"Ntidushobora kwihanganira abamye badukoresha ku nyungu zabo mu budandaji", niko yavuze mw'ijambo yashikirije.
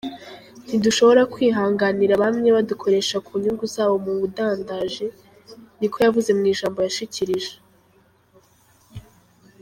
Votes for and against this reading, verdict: 2, 3, rejected